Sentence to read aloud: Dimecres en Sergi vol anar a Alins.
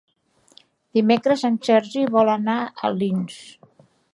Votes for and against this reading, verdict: 2, 1, accepted